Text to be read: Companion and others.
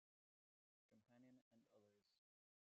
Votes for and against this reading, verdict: 0, 2, rejected